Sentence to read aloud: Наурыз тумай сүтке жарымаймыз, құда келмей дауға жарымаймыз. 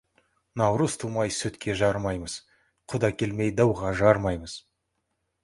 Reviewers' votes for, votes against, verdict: 2, 0, accepted